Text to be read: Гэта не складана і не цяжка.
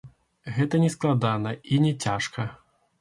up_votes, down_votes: 1, 2